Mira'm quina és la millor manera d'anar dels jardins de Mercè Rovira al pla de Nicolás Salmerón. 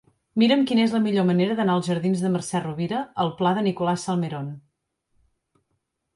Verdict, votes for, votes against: accepted, 2, 1